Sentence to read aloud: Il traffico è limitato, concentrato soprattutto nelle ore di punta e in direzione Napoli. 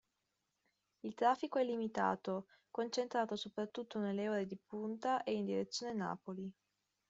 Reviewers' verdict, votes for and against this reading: accepted, 2, 0